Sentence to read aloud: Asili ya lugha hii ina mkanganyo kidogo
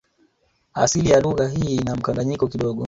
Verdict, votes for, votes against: accepted, 2, 1